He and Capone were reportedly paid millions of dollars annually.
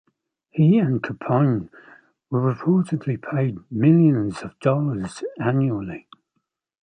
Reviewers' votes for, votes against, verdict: 2, 1, accepted